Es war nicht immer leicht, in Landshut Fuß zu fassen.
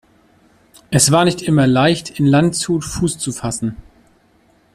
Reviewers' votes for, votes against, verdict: 2, 0, accepted